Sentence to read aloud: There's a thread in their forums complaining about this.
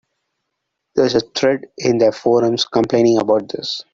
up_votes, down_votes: 2, 1